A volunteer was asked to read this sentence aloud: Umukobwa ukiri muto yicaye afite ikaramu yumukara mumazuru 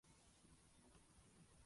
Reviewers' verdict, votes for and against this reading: rejected, 0, 2